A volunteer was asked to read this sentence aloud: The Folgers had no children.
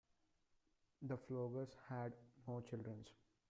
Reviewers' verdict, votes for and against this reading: rejected, 1, 2